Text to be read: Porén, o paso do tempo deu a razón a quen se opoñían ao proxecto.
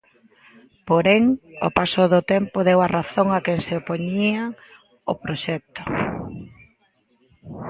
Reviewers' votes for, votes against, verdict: 0, 2, rejected